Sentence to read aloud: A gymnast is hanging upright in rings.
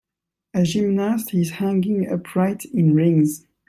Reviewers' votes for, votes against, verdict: 2, 0, accepted